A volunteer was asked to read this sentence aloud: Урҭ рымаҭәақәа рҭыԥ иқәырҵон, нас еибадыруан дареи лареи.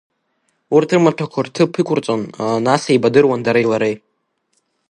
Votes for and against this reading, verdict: 2, 0, accepted